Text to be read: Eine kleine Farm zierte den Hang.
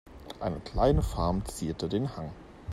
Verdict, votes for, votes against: accepted, 2, 0